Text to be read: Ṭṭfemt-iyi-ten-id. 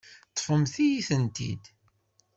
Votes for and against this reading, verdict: 1, 2, rejected